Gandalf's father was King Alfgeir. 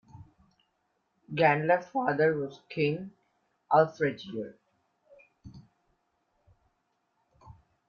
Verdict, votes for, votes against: rejected, 0, 2